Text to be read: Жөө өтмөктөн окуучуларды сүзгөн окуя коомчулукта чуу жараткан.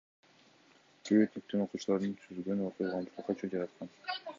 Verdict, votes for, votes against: accepted, 2, 1